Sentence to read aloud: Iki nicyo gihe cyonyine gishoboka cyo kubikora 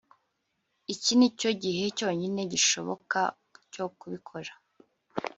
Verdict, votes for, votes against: accepted, 3, 0